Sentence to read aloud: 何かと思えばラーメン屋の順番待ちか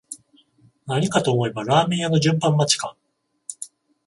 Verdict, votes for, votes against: accepted, 14, 7